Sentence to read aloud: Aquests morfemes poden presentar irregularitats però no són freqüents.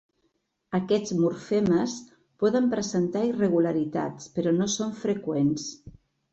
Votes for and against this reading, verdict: 3, 0, accepted